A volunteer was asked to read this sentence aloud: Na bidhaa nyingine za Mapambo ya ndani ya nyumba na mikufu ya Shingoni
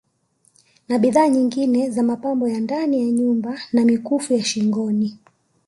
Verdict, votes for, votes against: accepted, 2, 0